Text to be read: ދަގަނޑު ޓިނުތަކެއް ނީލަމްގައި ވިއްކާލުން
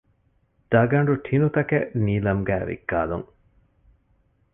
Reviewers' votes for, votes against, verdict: 1, 2, rejected